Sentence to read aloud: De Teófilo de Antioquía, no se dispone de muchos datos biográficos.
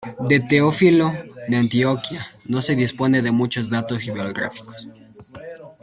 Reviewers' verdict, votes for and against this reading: rejected, 1, 2